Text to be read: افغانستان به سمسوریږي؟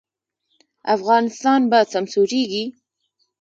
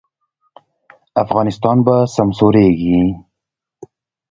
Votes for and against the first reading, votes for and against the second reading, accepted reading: 1, 2, 2, 0, second